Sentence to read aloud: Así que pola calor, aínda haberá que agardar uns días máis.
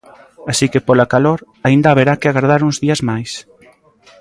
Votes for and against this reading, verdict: 2, 0, accepted